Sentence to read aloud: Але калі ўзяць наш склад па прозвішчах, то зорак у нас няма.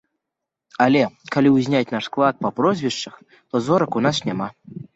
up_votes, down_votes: 1, 3